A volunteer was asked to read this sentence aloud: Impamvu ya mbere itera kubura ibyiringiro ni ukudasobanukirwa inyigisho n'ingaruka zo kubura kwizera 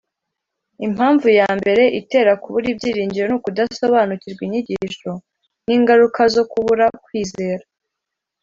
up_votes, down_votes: 2, 0